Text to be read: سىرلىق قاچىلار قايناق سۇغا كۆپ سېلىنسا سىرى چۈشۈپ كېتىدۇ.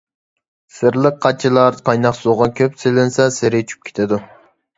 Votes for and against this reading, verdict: 1, 2, rejected